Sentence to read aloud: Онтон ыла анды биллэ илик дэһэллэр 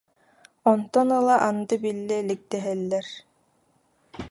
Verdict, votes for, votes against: accepted, 2, 0